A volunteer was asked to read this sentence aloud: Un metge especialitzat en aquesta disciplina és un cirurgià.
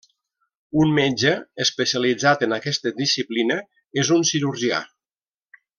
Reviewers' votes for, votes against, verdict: 3, 0, accepted